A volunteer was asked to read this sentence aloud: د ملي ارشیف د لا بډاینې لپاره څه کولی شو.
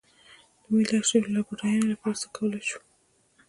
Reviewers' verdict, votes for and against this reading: rejected, 1, 2